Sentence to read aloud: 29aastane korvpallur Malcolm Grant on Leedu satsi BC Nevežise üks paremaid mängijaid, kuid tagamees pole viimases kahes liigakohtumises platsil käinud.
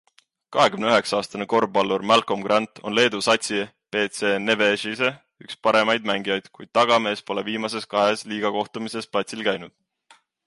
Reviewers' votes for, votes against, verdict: 0, 2, rejected